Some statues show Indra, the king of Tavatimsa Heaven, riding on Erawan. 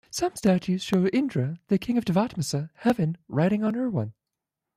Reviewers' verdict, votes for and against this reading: accepted, 2, 1